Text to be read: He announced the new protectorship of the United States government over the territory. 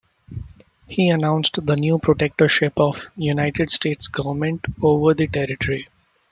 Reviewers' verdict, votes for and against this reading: accepted, 2, 0